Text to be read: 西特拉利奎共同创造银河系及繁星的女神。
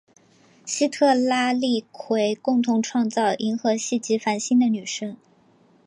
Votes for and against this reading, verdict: 3, 0, accepted